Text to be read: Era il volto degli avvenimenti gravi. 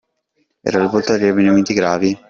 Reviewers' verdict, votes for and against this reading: rejected, 1, 2